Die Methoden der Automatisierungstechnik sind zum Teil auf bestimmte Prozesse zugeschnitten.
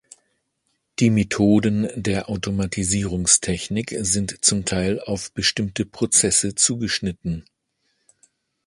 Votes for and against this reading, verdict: 2, 0, accepted